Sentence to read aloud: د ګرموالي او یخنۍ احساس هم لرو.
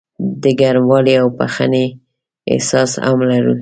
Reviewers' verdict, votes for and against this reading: rejected, 0, 2